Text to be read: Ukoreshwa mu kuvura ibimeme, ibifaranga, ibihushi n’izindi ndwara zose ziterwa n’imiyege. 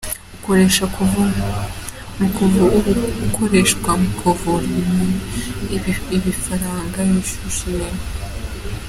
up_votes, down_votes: 0, 2